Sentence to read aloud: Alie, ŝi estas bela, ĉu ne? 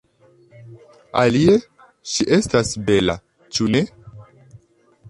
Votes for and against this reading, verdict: 2, 0, accepted